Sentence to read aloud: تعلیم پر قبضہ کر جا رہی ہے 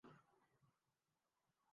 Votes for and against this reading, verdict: 0, 2, rejected